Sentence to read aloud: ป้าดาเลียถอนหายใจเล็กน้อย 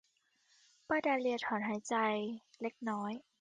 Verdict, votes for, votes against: accepted, 2, 0